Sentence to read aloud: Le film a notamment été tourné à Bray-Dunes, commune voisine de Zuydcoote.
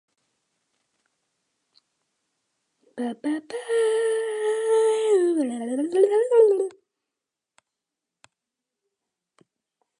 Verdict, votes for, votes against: rejected, 0, 2